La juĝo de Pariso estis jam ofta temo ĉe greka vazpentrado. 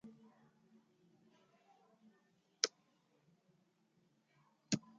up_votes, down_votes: 1, 2